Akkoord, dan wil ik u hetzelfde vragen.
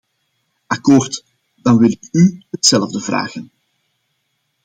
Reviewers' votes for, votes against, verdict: 1, 2, rejected